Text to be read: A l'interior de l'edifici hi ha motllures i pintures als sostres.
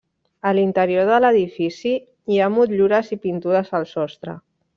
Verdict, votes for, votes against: rejected, 1, 2